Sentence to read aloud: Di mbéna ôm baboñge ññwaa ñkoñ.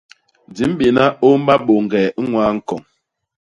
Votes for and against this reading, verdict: 0, 2, rejected